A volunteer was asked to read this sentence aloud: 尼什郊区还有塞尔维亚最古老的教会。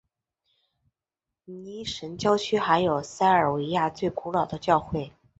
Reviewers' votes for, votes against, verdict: 3, 0, accepted